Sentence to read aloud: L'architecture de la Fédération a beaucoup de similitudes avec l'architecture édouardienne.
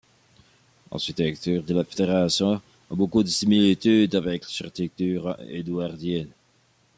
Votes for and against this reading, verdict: 0, 2, rejected